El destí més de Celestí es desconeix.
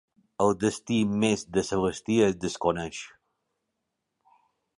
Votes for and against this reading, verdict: 2, 0, accepted